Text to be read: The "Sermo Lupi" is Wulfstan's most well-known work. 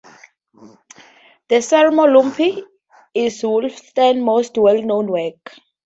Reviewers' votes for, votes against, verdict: 0, 2, rejected